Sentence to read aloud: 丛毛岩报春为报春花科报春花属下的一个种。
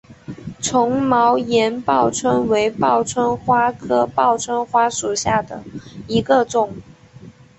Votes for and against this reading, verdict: 4, 0, accepted